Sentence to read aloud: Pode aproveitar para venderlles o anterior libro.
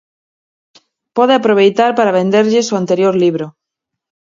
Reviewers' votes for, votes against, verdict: 4, 0, accepted